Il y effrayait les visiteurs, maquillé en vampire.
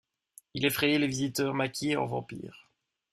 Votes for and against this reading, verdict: 1, 2, rejected